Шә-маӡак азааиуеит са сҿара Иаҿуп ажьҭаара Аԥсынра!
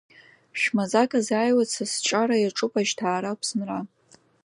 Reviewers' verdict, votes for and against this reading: accepted, 2, 0